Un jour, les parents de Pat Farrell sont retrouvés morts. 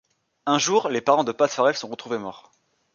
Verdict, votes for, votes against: accepted, 2, 0